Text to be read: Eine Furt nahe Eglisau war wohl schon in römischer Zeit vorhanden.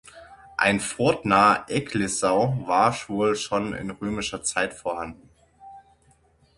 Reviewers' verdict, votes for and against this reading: rejected, 0, 6